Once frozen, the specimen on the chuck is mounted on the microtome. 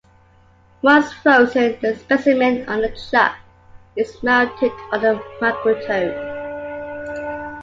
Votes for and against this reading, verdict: 2, 0, accepted